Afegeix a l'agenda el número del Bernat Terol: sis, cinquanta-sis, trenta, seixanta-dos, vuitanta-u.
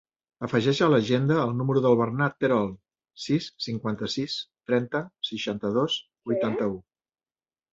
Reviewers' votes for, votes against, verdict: 1, 2, rejected